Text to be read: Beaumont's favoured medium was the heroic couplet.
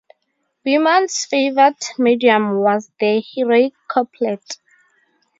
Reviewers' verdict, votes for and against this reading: rejected, 0, 2